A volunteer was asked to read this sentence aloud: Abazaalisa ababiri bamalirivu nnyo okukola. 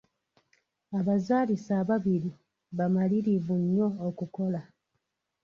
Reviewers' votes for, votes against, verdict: 0, 2, rejected